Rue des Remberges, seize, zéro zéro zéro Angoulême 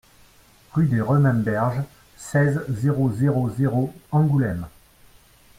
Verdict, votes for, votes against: rejected, 0, 2